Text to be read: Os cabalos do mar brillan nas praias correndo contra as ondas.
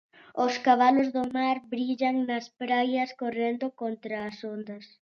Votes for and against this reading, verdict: 2, 0, accepted